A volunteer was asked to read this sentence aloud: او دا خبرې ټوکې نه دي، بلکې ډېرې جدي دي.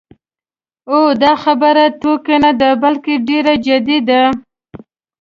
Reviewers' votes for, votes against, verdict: 1, 2, rejected